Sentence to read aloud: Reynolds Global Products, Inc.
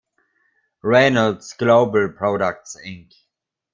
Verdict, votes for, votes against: rejected, 1, 2